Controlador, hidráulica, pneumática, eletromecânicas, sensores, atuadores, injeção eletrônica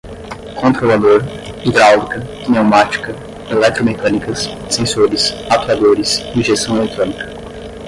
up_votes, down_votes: 5, 5